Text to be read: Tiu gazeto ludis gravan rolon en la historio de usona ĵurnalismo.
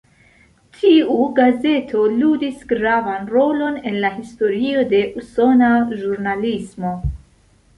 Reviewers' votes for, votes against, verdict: 2, 0, accepted